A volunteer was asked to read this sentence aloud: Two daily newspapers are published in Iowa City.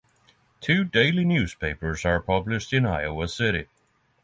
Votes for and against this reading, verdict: 6, 3, accepted